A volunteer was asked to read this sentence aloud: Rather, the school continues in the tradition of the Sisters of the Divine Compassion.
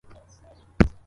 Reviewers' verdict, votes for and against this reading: rejected, 0, 2